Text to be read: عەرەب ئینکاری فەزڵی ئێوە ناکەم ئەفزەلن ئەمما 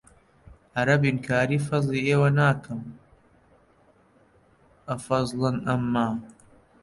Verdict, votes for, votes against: rejected, 0, 2